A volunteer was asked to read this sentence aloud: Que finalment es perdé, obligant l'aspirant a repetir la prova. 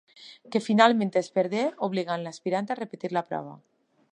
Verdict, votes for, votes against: accepted, 3, 0